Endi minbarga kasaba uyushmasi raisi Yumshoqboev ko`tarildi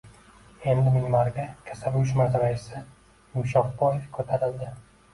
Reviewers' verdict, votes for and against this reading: rejected, 1, 2